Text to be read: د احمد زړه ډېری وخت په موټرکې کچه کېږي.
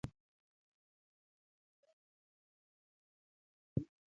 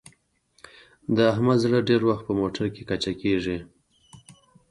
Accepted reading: first